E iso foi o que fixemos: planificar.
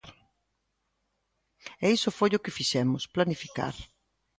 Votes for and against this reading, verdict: 2, 0, accepted